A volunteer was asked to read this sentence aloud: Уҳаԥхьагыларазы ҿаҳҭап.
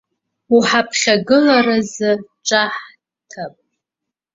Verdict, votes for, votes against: rejected, 0, 2